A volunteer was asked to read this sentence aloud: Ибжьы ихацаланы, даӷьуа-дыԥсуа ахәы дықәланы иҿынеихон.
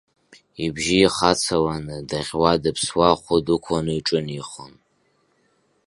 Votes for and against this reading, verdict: 2, 1, accepted